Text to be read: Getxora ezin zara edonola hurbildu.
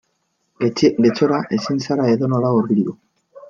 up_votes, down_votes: 0, 2